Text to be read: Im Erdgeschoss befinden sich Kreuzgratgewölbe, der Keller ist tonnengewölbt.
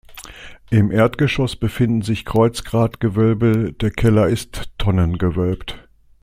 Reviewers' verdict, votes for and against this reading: accepted, 2, 0